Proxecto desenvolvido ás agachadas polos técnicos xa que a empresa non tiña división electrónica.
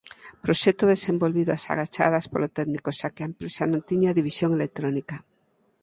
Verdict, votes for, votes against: rejected, 0, 4